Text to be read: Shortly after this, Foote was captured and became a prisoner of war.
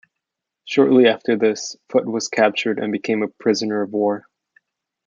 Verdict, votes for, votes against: accepted, 2, 0